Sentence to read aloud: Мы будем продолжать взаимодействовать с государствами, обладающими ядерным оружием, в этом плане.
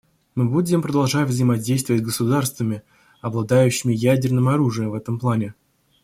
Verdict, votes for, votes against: rejected, 1, 2